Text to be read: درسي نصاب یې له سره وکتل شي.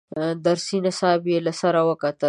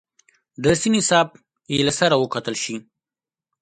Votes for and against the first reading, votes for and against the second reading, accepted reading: 0, 2, 2, 0, second